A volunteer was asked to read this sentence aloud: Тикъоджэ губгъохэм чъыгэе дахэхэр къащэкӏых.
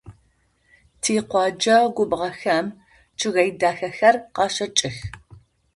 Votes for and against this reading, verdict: 2, 0, accepted